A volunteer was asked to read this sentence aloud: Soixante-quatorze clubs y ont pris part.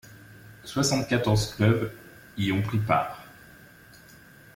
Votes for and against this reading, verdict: 2, 0, accepted